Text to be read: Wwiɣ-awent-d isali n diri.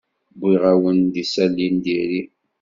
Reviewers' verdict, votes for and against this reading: accepted, 2, 0